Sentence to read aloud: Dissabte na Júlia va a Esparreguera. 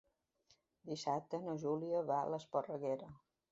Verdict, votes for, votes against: rejected, 0, 2